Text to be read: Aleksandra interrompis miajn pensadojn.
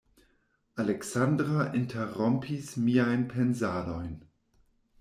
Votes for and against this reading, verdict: 1, 2, rejected